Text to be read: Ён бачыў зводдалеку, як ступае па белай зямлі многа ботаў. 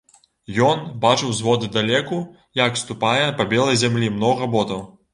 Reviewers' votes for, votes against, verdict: 0, 2, rejected